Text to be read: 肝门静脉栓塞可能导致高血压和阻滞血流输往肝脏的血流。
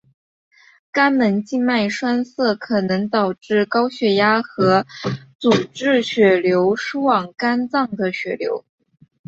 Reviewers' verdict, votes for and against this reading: accepted, 5, 0